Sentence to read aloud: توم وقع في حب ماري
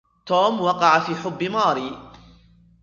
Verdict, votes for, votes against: rejected, 1, 2